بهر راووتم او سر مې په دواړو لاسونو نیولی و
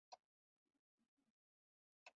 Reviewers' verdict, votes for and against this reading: rejected, 1, 2